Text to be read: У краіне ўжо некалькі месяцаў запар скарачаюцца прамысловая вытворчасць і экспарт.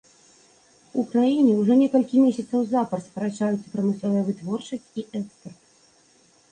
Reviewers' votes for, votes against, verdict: 2, 1, accepted